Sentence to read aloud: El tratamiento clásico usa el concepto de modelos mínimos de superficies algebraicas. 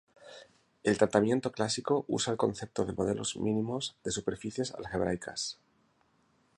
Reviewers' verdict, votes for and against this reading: accepted, 2, 0